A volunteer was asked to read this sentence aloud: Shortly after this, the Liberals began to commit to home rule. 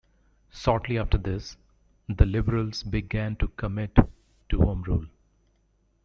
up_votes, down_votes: 1, 2